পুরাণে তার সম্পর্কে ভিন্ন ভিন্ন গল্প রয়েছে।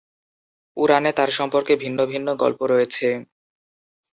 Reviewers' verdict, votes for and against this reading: accepted, 5, 0